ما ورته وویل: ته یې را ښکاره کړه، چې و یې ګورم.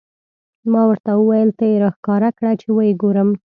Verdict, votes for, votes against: accepted, 2, 0